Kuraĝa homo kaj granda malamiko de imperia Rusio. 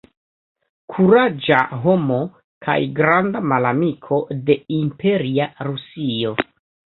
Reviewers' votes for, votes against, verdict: 2, 0, accepted